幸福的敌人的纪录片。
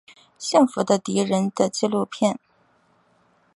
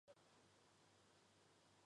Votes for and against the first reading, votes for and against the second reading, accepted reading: 6, 1, 0, 3, first